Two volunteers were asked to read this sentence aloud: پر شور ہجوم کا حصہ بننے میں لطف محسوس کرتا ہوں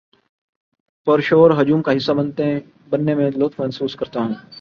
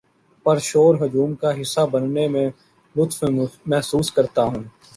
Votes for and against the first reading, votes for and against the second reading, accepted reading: 1, 2, 2, 0, second